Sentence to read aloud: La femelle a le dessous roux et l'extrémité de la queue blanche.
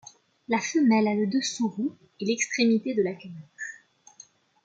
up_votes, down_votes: 2, 1